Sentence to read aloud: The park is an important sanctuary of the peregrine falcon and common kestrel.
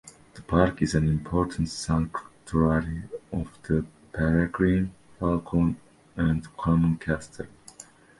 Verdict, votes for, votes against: accepted, 2, 0